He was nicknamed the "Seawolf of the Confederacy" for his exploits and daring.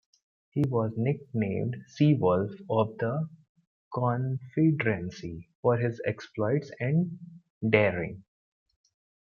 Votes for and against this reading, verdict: 0, 2, rejected